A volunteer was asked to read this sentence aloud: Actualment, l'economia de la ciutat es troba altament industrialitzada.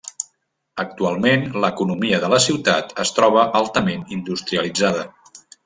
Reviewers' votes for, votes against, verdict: 3, 0, accepted